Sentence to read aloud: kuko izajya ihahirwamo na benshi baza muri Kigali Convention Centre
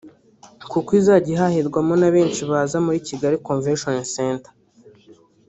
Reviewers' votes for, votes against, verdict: 1, 2, rejected